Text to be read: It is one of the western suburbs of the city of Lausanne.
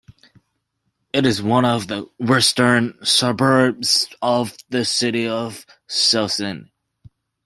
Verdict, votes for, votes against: rejected, 0, 2